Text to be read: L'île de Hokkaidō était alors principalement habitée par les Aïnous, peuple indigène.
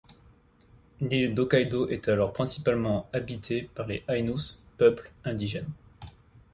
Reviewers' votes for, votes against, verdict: 1, 2, rejected